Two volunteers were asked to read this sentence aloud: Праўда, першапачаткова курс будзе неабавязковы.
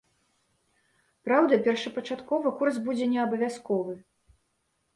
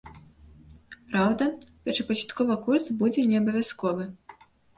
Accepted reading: first